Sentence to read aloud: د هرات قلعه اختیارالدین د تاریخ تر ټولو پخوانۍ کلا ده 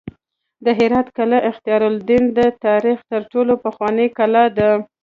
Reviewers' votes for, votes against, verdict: 2, 0, accepted